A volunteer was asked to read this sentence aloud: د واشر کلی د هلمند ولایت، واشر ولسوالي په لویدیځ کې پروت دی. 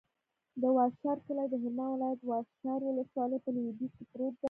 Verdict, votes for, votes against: rejected, 0, 2